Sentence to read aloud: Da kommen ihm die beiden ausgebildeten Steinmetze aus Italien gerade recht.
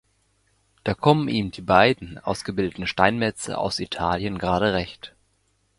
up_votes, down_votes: 2, 0